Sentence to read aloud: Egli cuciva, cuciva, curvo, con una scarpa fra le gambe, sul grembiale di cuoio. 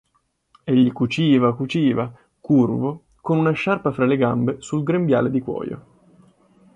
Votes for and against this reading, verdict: 1, 2, rejected